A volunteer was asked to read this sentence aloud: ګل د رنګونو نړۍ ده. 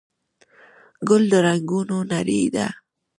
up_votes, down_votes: 0, 2